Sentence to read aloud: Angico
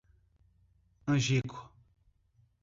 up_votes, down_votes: 2, 0